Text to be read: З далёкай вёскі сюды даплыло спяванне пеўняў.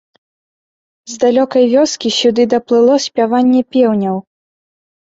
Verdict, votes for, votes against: accepted, 2, 0